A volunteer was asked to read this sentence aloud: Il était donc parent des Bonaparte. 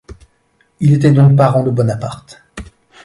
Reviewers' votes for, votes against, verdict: 1, 2, rejected